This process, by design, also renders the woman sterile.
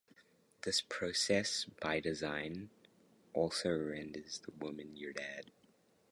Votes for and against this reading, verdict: 0, 2, rejected